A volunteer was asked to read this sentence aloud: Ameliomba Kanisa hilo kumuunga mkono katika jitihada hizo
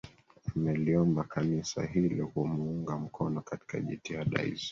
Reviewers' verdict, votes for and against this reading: accepted, 3, 2